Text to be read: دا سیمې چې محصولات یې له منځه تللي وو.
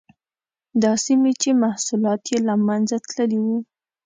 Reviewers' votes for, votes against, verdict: 2, 0, accepted